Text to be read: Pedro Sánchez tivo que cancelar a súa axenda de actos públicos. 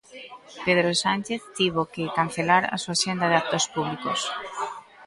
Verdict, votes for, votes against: accepted, 2, 0